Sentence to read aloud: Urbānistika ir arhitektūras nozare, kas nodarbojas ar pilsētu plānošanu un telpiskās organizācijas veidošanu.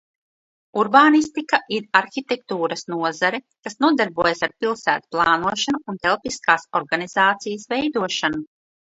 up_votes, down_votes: 1, 2